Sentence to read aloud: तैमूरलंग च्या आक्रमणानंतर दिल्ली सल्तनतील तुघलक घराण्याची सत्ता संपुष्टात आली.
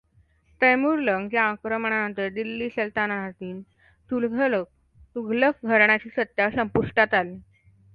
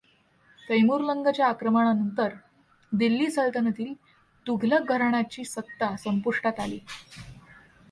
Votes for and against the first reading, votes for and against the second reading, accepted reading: 1, 2, 2, 1, second